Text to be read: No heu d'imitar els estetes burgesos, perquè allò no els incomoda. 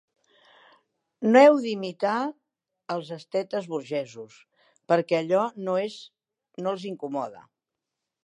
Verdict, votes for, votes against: rejected, 1, 2